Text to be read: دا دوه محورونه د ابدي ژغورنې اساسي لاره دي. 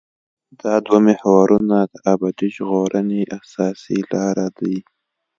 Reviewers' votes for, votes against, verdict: 2, 0, accepted